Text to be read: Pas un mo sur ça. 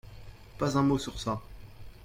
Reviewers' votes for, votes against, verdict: 0, 2, rejected